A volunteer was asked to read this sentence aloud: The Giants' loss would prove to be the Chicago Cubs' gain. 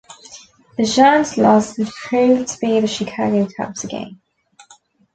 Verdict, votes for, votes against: accepted, 2, 1